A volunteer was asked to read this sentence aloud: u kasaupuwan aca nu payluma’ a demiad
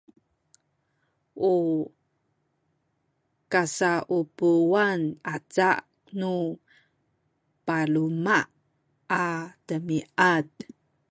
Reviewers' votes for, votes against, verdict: 0, 2, rejected